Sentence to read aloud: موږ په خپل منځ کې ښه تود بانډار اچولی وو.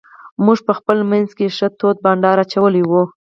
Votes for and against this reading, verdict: 4, 2, accepted